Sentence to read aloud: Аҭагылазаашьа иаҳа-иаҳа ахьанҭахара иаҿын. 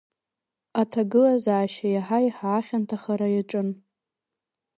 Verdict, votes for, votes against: accepted, 2, 0